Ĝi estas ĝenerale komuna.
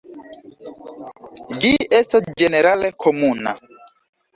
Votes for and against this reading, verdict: 2, 0, accepted